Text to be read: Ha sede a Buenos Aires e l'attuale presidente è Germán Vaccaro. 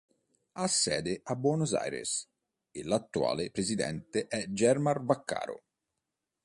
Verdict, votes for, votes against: rejected, 0, 2